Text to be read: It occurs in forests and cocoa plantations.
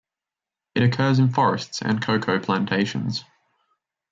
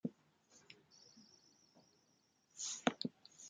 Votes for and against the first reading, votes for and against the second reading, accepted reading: 2, 0, 0, 2, first